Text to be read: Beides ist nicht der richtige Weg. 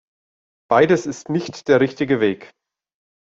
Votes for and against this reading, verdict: 2, 0, accepted